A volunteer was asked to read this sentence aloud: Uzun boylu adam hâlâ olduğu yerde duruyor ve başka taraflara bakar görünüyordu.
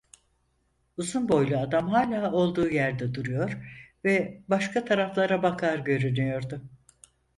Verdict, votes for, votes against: accepted, 4, 0